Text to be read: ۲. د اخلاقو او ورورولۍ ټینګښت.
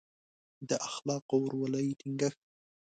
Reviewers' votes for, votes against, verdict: 0, 2, rejected